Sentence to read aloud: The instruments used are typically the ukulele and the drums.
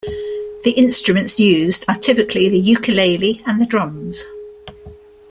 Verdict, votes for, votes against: accepted, 2, 0